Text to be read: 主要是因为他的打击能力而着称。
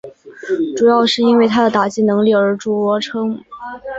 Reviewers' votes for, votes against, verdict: 5, 0, accepted